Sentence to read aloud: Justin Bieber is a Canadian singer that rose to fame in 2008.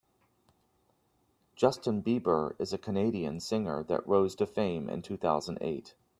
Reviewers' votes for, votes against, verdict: 0, 2, rejected